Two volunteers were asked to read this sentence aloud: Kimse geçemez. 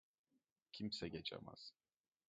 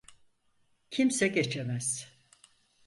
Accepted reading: second